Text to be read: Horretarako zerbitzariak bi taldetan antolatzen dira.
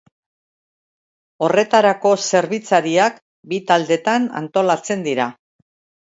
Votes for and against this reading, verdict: 3, 0, accepted